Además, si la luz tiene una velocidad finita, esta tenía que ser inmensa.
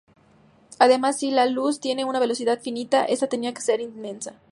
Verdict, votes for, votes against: accepted, 2, 0